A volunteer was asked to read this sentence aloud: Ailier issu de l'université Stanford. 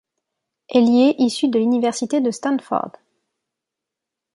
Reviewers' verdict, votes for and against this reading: rejected, 1, 2